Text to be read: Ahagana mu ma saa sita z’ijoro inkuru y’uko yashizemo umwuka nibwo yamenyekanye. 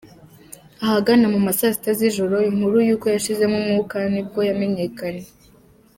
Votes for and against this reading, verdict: 0, 2, rejected